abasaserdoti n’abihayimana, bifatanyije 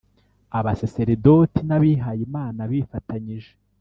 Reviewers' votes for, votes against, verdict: 2, 0, accepted